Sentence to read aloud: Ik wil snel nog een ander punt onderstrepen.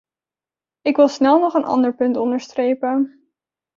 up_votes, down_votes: 2, 1